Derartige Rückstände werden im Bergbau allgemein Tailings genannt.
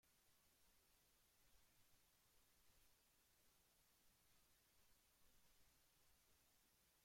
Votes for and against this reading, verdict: 0, 2, rejected